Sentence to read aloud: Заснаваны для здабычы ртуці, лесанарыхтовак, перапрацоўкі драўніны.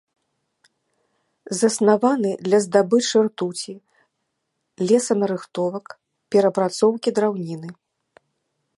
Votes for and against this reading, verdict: 2, 0, accepted